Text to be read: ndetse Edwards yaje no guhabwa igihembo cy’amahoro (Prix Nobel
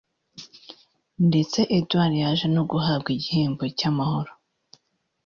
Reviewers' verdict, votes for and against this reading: rejected, 0, 2